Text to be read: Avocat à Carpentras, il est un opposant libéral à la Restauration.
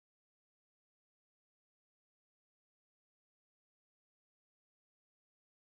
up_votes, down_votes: 2, 4